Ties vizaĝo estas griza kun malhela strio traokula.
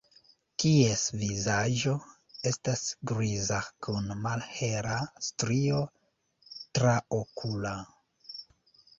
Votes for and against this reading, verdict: 1, 2, rejected